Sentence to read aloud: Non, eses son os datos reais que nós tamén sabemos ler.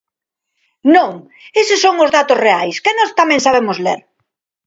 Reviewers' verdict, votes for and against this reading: accepted, 2, 0